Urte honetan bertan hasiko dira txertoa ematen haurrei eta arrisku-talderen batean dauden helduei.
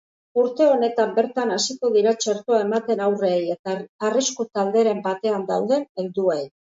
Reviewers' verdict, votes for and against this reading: accepted, 2, 0